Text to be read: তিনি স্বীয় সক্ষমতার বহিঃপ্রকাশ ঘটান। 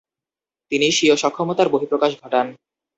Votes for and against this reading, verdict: 2, 0, accepted